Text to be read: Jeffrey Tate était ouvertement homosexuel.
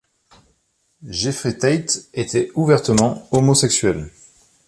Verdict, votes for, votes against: accepted, 3, 0